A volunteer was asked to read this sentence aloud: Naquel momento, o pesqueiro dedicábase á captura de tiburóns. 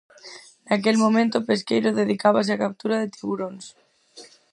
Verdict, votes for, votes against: accepted, 4, 0